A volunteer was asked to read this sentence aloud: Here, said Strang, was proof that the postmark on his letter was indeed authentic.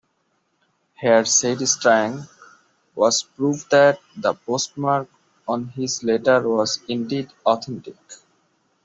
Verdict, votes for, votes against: rejected, 1, 2